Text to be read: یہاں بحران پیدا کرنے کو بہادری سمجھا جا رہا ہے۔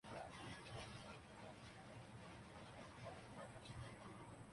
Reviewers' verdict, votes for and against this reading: rejected, 0, 3